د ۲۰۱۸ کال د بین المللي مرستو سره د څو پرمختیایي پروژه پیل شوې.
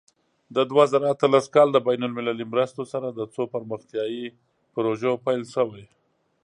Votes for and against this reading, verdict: 0, 2, rejected